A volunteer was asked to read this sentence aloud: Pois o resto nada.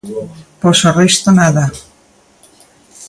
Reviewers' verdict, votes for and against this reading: accepted, 2, 1